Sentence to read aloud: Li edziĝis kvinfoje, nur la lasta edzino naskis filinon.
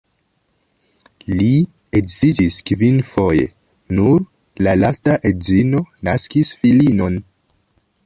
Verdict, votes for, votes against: rejected, 1, 2